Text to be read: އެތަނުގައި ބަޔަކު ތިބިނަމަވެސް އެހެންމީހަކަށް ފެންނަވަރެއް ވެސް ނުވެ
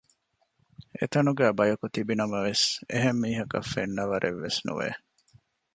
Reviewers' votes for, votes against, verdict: 2, 0, accepted